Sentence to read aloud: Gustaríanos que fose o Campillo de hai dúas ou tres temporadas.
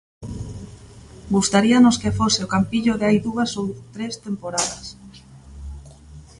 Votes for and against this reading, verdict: 2, 0, accepted